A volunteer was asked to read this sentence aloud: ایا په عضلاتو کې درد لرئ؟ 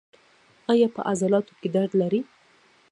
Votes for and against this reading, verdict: 1, 2, rejected